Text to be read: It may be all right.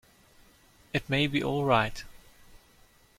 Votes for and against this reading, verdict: 2, 0, accepted